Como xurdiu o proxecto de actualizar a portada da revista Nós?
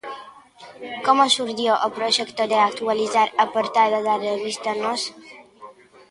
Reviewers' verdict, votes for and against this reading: rejected, 1, 2